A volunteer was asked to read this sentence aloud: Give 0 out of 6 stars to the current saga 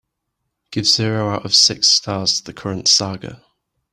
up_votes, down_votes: 0, 2